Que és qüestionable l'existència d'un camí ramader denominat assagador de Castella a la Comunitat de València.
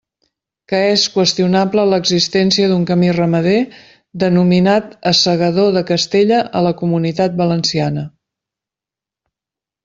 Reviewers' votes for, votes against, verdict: 1, 2, rejected